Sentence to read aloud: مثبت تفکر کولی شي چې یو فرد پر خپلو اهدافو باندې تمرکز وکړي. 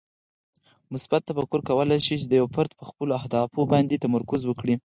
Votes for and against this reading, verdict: 0, 4, rejected